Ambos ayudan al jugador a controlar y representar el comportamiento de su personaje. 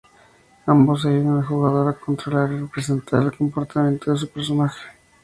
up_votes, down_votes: 2, 2